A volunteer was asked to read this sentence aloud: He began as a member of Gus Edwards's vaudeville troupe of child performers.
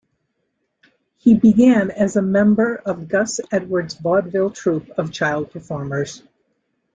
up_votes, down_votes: 1, 2